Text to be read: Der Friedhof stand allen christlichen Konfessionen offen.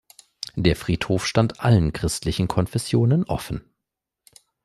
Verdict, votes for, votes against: accepted, 2, 0